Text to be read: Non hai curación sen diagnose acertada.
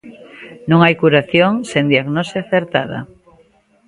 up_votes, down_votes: 3, 0